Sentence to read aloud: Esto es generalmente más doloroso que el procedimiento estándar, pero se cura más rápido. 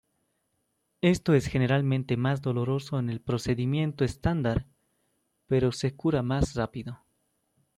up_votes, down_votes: 1, 2